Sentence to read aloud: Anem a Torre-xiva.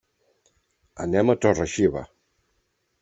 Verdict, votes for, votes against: accepted, 3, 0